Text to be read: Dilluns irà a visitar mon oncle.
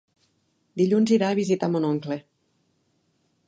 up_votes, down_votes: 4, 0